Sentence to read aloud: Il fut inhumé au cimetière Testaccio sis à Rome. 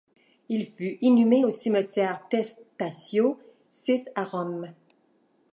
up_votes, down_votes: 1, 2